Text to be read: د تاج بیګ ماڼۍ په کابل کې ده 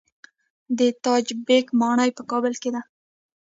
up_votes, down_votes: 0, 2